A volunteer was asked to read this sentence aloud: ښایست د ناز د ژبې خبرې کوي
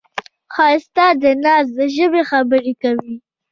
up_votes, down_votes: 0, 2